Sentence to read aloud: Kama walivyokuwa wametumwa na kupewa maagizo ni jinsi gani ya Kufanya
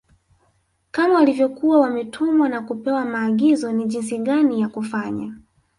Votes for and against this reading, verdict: 3, 0, accepted